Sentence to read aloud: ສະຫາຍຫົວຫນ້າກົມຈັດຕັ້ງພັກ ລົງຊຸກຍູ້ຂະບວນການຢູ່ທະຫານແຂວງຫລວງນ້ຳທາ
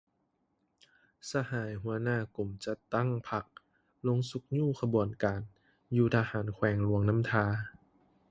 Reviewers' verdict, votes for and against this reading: accepted, 2, 0